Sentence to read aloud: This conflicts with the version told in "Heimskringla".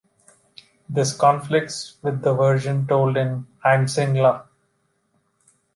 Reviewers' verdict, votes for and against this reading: accepted, 2, 1